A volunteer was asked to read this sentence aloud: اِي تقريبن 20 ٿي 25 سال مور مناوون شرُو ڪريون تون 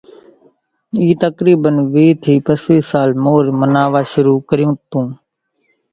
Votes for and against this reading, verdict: 0, 2, rejected